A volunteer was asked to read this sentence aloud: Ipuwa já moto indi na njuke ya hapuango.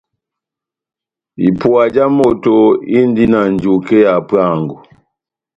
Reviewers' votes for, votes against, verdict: 2, 0, accepted